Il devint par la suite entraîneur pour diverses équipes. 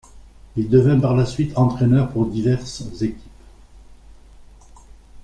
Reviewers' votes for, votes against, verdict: 2, 0, accepted